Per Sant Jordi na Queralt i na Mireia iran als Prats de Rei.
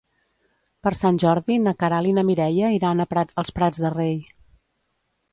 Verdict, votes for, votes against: rejected, 0, 2